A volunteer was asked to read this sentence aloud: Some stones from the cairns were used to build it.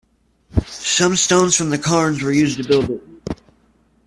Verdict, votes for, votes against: accepted, 2, 1